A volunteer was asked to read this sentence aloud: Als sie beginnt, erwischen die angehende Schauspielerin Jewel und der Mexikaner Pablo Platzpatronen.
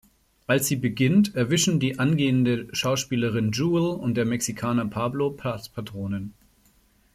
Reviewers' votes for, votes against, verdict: 1, 2, rejected